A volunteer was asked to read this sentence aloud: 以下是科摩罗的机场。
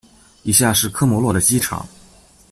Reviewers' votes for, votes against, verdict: 0, 2, rejected